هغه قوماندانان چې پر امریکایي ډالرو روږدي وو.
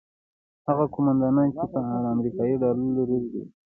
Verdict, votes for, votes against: rejected, 1, 3